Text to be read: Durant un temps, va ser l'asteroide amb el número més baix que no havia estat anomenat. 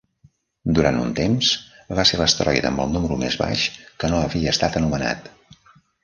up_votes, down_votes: 0, 2